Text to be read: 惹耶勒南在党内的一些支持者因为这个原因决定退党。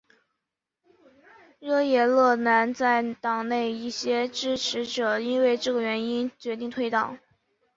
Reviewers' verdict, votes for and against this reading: accepted, 3, 1